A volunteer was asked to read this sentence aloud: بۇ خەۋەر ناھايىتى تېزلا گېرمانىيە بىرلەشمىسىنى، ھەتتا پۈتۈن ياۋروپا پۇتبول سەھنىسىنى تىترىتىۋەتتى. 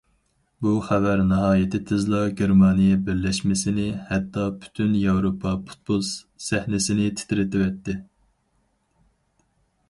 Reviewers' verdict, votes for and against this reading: accepted, 2, 0